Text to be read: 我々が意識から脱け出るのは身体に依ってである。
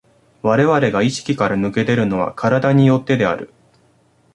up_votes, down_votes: 2, 0